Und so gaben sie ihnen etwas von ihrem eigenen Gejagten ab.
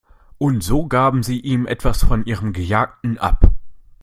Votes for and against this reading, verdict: 0, 2, rejected